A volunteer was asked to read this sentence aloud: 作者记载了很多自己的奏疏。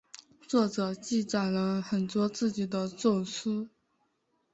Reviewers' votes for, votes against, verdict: 2, 0, accepted